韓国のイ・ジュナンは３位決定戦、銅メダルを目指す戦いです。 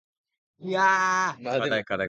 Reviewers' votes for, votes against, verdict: 0, 2, rejected